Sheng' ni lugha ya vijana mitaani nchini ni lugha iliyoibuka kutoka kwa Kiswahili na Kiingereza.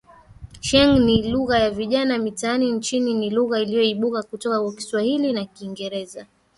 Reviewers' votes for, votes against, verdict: 4, 3, accepted